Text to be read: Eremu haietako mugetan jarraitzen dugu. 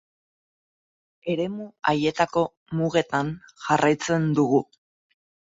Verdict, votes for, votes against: accepted, 6, 0